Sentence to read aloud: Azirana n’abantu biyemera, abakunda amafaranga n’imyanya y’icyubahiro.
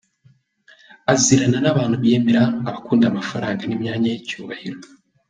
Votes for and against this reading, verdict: 2, 0, accepted